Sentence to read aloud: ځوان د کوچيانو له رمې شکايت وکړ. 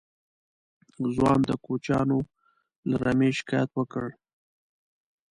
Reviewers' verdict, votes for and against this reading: accepted, 2, 0